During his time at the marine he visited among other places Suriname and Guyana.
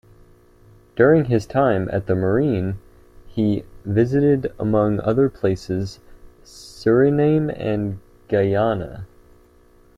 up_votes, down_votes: 2, 1